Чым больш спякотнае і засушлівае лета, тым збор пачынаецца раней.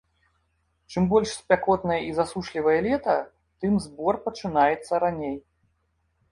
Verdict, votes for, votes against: accepted, 2, 0